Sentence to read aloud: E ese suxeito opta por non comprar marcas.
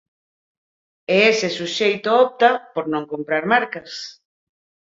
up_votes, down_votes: 4, 0